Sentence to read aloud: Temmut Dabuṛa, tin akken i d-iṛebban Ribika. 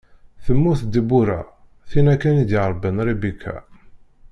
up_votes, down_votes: 1, 2